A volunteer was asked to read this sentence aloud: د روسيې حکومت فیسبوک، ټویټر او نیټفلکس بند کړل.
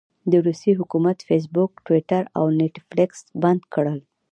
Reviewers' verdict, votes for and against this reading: accepted, 2, 0